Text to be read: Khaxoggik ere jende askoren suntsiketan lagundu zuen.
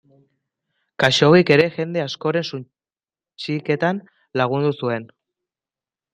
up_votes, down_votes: 0, 2